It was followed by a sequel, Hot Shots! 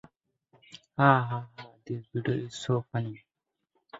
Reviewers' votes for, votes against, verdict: 0, 2, rejected